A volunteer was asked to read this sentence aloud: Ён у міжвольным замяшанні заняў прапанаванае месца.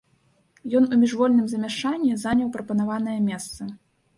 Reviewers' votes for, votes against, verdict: 2, 1, accepted